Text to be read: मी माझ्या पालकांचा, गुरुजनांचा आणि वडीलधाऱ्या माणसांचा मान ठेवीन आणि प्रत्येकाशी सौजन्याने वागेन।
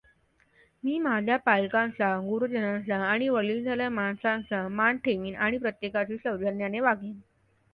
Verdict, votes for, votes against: rejected, 1, 2